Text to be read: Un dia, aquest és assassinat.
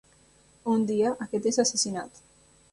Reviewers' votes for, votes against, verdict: 3, 0, accepted